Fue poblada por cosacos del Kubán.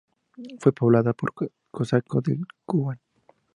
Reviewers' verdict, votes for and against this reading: accepted, 2, 0